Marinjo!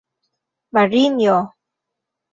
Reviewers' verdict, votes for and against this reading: rejected, 0, 2